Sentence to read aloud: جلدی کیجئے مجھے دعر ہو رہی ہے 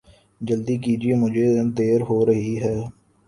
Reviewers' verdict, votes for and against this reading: accepted, 3, 1